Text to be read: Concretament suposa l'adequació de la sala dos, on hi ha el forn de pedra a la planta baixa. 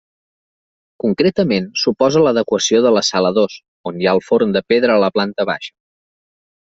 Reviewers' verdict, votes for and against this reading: accepted, 3, 0